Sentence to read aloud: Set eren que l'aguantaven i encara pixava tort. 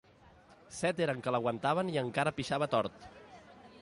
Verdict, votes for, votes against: accepted, 2, 0